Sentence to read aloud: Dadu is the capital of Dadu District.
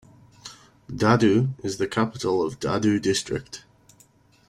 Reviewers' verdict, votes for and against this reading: accepted, 2, 0